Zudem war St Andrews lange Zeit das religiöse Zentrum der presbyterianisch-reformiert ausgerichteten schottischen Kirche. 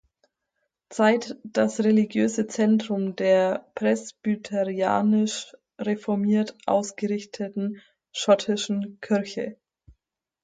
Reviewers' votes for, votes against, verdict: 0, 4, rejected